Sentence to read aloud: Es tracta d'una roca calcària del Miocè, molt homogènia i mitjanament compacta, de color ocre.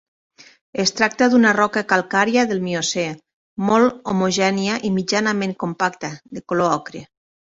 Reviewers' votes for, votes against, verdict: 2, 0, accepted